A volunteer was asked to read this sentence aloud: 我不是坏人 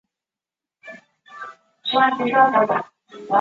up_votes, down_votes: 0, 2